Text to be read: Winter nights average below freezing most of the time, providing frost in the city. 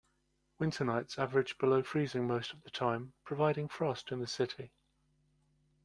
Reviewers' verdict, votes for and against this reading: accepted, 2, 0